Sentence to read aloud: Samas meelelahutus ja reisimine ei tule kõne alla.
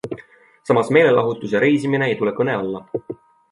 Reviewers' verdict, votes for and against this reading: accepted, 2, 0